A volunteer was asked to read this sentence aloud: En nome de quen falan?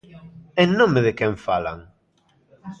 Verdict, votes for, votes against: accepted, 2, 0